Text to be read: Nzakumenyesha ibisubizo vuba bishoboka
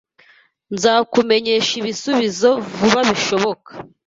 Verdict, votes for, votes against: accepted, 2, 0